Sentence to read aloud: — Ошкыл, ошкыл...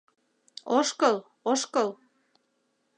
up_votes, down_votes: 2, 0